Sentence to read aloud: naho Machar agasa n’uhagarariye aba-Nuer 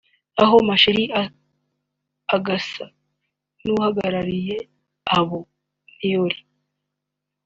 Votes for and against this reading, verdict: 2, 3, rejected